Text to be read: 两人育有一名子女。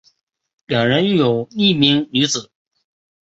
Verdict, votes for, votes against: rejected, 0, 3